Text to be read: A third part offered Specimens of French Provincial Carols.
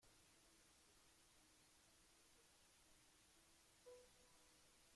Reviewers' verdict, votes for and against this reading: rejected, 0, 2